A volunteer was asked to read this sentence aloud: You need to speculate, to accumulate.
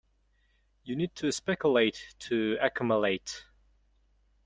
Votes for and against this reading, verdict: 2, 1, accepted